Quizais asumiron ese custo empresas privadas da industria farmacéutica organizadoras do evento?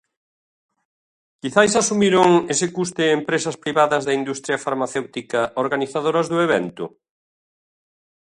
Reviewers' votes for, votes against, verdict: 0, 2, rejected